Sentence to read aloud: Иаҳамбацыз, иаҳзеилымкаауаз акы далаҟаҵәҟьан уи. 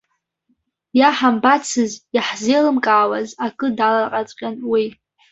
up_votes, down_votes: 2, 1